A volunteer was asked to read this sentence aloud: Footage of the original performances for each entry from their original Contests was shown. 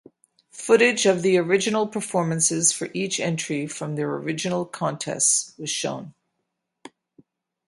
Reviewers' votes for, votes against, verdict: 4, 0, accepted